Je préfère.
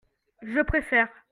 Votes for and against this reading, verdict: 2, 0, accepted